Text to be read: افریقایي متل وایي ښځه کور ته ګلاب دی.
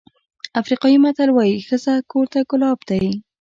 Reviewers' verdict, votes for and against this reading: rejected, 1, 2